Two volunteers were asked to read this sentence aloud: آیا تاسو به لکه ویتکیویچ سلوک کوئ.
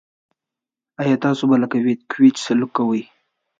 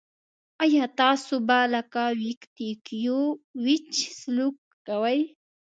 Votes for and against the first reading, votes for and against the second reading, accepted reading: 2, 0, 0, 2, first